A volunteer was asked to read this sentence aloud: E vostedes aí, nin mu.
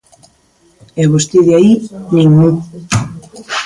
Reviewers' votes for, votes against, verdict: 0, 2, rejected